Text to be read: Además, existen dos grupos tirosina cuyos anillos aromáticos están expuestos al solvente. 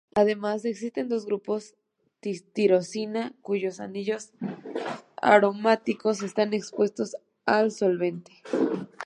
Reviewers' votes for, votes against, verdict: 0, 2, rejected